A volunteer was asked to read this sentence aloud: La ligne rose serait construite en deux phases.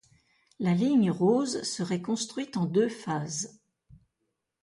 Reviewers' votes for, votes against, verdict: 2, 0, accepted